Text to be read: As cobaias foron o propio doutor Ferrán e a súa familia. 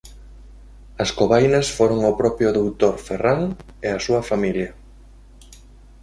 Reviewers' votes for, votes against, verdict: 0, 2, rejected